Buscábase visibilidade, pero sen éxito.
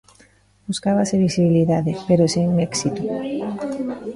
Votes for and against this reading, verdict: 2, 1, accepted